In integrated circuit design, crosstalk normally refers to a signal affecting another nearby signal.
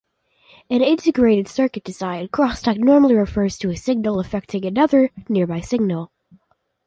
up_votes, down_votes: 1, 2